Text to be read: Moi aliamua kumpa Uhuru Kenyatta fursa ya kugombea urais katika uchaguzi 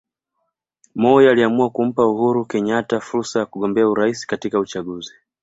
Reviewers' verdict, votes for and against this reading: rejected, 0, 2